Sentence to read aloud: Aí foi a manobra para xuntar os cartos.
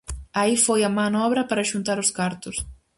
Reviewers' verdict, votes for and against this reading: accepted, 4, 0